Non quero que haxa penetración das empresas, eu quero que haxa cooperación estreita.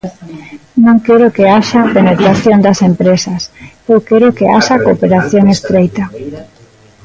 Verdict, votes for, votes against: rejected, 1, 2